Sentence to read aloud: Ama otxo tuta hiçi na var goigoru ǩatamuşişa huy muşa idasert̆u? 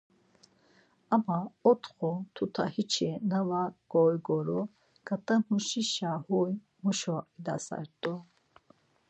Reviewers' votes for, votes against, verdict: 4, 0, accepted